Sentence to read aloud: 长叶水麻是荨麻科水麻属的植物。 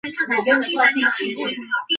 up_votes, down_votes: 2, 3